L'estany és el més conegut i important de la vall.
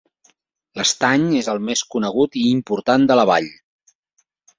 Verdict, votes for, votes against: accepted, 5, 0